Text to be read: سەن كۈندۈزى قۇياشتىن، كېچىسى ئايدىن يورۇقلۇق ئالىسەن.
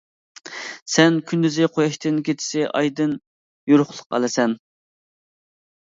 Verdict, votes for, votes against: accepted, 2, 1